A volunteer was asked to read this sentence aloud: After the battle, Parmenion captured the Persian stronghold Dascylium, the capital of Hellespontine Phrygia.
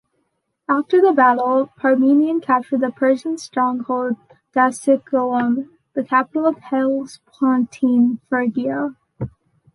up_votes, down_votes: 0, 2